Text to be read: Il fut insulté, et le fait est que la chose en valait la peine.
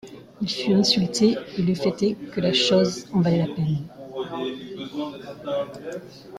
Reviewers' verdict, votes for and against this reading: accepted, 2, 1